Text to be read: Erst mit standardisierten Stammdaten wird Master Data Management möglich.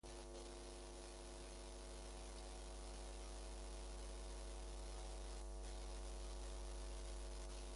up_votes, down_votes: 0, 2